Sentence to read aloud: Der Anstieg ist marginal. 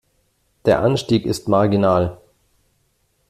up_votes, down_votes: 2, 0